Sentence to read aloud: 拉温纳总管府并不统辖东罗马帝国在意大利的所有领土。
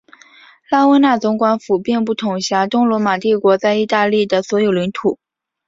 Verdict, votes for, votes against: accepted, 5, 1